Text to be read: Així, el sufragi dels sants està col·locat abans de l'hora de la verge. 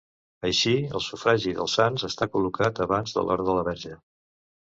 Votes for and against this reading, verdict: 3, 0, accepted